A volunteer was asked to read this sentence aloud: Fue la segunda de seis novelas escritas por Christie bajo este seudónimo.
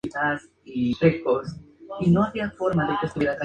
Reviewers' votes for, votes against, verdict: 0, 2, rejected